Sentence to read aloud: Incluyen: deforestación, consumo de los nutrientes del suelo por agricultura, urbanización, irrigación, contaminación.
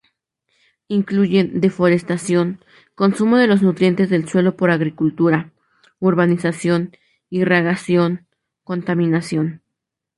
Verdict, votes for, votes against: rejected, 0, 2